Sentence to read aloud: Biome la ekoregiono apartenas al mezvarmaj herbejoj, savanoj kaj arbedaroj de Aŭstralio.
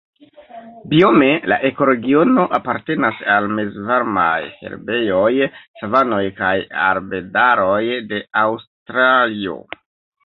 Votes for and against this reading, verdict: 1, 2, rejected